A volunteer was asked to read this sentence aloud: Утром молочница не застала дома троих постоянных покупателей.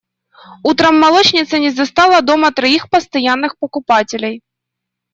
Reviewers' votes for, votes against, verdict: 2, 0, accepted